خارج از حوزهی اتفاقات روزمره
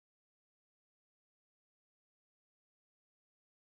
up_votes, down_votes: 0, 2